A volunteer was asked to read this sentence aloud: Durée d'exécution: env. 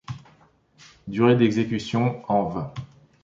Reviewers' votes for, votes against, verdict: 2, 1, accepted